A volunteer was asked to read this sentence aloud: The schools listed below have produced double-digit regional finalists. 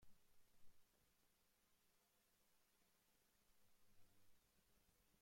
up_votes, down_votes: 0, 2